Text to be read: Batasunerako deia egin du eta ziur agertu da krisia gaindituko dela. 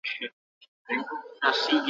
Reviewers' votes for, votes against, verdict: 0, 4, rejected